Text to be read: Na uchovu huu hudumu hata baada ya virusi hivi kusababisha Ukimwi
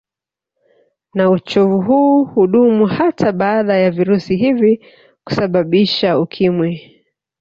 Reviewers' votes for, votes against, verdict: 1, 2, rejected